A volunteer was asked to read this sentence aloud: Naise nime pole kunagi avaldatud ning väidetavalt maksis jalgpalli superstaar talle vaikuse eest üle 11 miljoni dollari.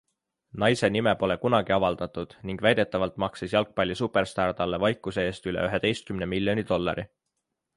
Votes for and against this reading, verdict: 0, 2, rejected